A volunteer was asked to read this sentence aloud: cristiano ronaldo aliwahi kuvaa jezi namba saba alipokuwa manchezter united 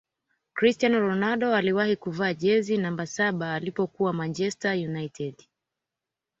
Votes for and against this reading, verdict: 2, 0, accepted